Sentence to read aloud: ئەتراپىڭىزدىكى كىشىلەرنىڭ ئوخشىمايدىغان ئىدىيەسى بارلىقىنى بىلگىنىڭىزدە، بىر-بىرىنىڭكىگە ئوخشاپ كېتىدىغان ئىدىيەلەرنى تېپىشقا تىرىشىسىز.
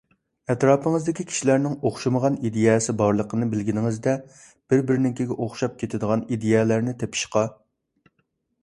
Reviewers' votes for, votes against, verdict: 1, 2, rejected